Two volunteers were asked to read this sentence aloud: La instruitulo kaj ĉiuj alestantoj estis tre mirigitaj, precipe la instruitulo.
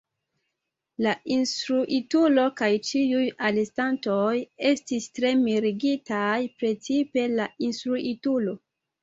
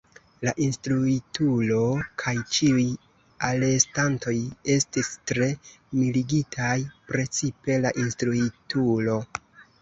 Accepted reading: first